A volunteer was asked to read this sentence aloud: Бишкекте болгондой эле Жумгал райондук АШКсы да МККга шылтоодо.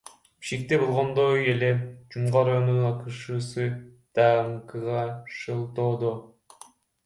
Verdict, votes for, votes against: rejected, 1, 2